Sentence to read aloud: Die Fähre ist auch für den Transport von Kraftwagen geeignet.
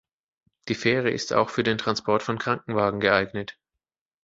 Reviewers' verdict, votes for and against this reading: rejected, 0, 2